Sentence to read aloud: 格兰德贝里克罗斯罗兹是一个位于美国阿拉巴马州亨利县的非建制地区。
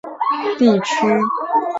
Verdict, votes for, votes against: rejected, 0, 2